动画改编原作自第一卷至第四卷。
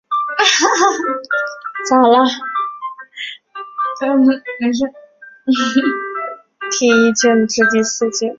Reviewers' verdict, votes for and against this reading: rejected, 0, 2